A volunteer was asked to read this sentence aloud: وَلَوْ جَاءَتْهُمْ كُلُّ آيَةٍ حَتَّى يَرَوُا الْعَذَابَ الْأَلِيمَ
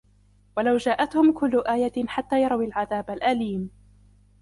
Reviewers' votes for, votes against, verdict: 0, 2, rejected